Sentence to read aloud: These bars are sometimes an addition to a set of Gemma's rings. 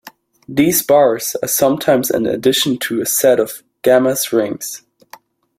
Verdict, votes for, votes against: rejected, 1, 2